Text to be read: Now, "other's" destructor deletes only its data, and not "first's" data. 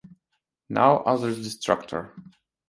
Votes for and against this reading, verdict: 0, 2, rejected